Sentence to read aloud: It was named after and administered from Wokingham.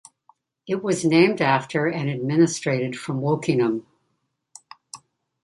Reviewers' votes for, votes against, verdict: 1, 2, rejected